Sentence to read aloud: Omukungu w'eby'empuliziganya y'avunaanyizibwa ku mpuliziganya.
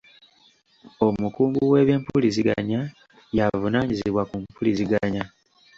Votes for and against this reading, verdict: 2, 1, accepted